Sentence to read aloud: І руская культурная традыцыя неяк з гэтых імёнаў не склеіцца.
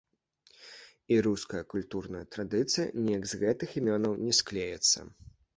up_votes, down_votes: 0, 2